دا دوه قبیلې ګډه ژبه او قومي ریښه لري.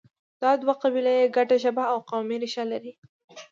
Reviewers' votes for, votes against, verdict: 2, 0, accepted